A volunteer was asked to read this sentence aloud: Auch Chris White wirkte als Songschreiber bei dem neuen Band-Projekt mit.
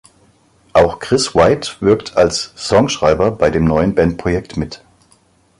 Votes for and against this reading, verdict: 1, 2, rejected